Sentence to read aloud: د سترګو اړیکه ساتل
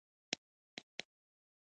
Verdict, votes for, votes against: rejected, 0, 2